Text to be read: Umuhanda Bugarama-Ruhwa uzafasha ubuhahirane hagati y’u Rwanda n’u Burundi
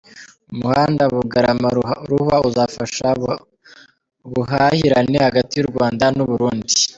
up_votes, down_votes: 1, 2